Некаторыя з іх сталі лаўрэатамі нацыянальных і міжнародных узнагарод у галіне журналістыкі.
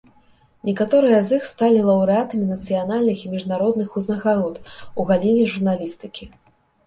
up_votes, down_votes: 0, 2